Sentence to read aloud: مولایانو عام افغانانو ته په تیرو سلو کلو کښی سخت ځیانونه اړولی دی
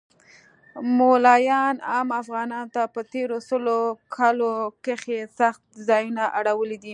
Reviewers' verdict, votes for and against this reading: accepted, 2, 0